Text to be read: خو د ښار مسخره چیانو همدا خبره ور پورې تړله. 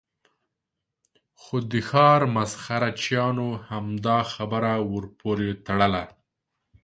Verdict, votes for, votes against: accepted, 2, 0